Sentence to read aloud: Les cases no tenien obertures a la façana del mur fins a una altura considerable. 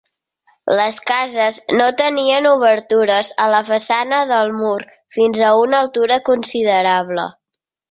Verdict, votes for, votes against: accepted, 3, 0